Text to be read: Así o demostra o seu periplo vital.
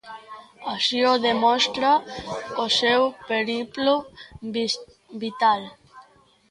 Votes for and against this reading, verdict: 0, 2, rejected